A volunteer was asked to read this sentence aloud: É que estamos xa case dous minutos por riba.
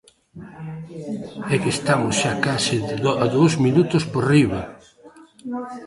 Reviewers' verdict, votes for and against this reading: rejected, 0, 2